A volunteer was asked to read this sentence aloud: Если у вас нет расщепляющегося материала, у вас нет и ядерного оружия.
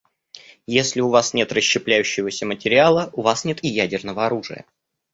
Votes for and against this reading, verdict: 2, 0, accepted